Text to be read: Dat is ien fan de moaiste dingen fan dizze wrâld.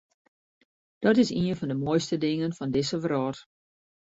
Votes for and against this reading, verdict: 2, 0, accepted